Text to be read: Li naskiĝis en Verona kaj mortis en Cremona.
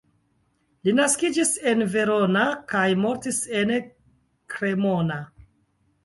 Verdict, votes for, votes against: accepted, 2, 1